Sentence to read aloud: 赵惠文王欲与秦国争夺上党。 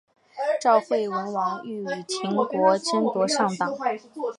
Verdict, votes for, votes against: accepted, 3, 0